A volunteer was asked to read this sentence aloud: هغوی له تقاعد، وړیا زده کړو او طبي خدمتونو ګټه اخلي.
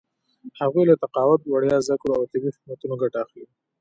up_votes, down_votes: 1, 2